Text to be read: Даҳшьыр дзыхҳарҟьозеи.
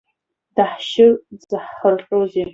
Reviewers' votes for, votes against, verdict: 1, 2, rejected